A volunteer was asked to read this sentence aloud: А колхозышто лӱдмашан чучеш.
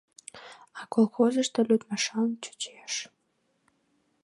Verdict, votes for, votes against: accepted, 2, 0